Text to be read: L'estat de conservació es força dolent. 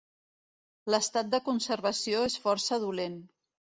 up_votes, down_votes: 2, 0